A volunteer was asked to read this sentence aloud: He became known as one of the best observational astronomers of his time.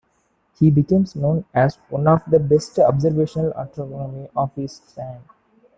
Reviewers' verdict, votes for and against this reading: rejected, 0, 2